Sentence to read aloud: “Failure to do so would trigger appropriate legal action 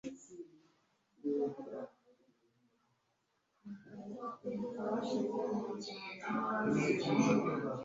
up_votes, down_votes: 1, 2